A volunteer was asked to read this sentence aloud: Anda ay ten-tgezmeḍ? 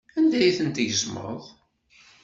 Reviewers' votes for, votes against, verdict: 2, 0, accepted